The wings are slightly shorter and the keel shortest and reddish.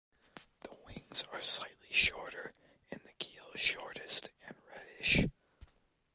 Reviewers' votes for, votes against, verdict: 2, 0, accepted